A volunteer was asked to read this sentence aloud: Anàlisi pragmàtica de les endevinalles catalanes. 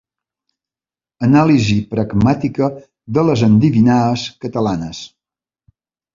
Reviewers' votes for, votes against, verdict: 0, 2, rejected